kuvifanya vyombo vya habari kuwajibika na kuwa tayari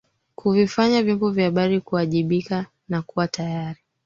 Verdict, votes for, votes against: rejected, 1, 3